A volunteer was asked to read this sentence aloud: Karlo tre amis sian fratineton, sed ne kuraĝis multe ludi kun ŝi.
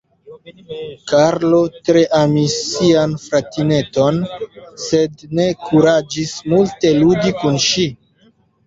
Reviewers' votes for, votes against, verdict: 2, 0, accepted